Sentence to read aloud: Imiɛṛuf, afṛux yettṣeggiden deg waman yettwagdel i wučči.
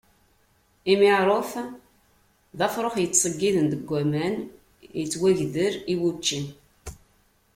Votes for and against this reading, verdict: 0, 2, rejected